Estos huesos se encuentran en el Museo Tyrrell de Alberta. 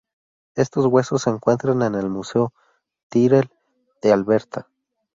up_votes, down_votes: 2, 0